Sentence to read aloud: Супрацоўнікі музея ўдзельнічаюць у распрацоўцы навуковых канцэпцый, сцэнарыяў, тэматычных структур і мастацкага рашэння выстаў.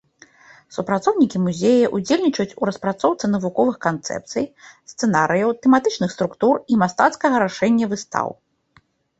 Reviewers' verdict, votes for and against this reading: accepted, 2, 0